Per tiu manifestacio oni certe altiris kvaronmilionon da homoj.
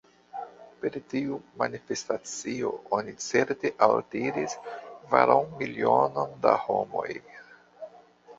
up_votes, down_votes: 0, 2